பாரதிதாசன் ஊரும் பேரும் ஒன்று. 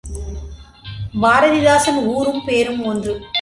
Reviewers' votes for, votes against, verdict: 2, 0, accepted